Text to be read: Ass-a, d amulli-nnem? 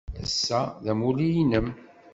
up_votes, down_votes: 2, 1